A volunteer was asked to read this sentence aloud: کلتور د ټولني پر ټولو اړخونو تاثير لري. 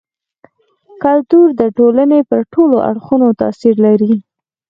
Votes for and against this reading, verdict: 4, 0, accepted